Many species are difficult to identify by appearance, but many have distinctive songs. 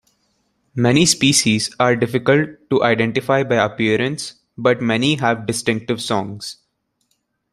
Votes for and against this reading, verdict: 2, 0, accepted